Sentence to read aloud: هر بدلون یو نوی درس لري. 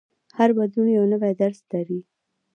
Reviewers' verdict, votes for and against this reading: rejected, 1, 2